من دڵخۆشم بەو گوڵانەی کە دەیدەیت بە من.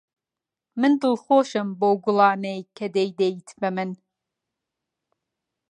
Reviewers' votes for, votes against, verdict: 2, 0, accepted